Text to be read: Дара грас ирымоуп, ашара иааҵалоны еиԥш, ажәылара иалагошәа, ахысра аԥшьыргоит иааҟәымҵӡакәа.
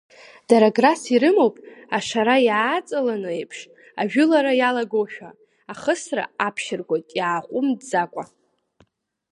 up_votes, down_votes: 3, 0